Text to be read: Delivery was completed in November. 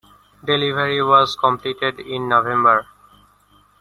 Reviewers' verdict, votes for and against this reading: accepted, 2, 1